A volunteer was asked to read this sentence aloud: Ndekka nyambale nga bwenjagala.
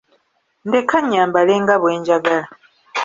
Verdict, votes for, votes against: accepted, 2, 0